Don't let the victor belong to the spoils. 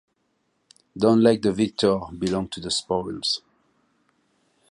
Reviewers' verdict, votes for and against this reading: accepted, 2, 1